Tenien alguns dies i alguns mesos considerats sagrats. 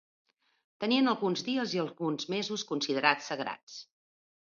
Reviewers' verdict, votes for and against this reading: accepted, 2, 0